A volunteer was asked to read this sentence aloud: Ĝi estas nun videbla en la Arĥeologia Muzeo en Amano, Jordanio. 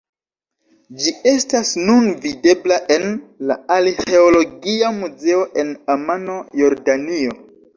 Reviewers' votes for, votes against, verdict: 2, 0, accepted